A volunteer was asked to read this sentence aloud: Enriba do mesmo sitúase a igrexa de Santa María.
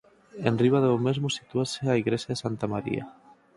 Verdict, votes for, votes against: accepted, 4, 0